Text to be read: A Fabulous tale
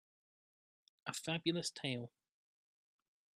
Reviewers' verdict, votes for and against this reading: accepted, 2, 1